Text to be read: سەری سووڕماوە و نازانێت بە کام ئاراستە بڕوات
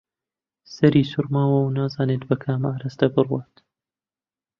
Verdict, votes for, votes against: accepted, 2, 0